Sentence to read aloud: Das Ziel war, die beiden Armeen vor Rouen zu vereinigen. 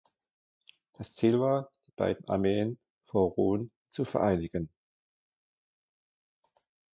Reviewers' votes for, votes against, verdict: 0, 2, rejected